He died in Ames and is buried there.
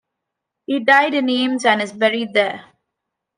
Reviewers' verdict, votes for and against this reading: accepted, 2, 1